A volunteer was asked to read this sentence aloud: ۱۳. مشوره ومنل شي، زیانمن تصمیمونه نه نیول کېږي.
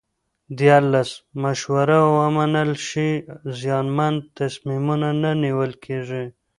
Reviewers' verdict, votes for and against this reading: rejected, 0, 2